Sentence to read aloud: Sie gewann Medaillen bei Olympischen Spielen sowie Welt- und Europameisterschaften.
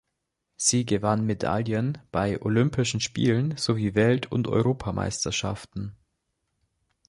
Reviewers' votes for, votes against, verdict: 3, 0, accepted